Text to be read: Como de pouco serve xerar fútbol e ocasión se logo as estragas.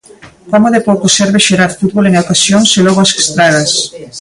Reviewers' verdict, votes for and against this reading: rejected, 1, 2